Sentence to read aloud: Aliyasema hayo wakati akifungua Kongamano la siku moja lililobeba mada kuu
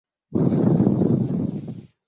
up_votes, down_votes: 0, 2